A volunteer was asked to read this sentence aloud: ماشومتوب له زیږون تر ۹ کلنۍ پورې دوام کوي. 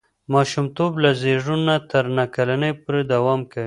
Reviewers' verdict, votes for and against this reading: rejected, 0, 2